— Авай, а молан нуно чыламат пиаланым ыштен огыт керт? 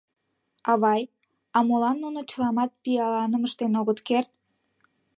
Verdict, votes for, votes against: accepted, 2, 0